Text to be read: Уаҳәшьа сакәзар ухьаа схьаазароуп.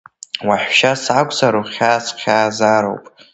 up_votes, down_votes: 0, 2